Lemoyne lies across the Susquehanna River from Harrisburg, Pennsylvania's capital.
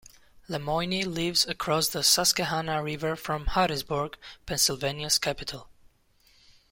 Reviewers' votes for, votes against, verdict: 1, 2, rejected